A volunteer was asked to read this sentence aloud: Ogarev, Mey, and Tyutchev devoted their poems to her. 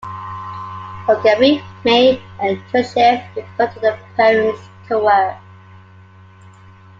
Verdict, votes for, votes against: accepted, 2, 1